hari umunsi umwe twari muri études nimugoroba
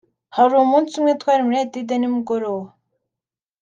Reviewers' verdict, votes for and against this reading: accepted, 2, 0